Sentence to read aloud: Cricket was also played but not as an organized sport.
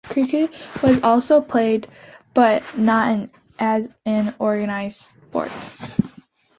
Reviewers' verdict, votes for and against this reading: accepted, 2, 0